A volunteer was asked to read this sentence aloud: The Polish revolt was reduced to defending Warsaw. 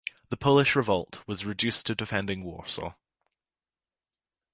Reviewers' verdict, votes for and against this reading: accepted, 2, 0